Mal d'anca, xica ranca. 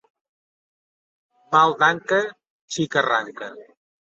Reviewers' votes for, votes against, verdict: 2, 0, accepted